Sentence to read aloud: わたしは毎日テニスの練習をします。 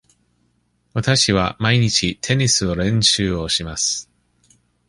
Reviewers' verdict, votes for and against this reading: rejected, 1, 2